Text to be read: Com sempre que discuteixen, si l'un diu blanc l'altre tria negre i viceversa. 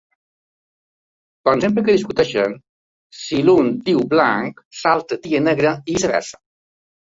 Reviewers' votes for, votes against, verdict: 0, 2, rejected